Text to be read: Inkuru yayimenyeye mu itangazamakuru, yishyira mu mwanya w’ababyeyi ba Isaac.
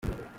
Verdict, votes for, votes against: rejected, 0, 2